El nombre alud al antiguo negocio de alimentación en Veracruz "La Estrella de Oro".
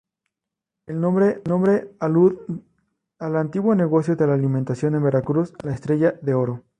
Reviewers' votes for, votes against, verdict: 2, 0, accepted